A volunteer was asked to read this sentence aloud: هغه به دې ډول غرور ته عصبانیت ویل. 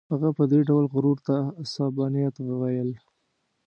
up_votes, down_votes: 1, 2